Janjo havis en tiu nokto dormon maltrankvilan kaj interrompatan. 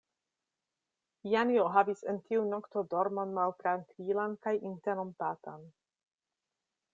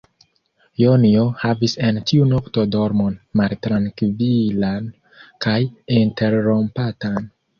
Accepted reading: first